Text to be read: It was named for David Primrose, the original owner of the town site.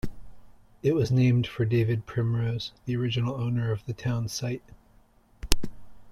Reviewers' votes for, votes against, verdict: 2, 0, accepted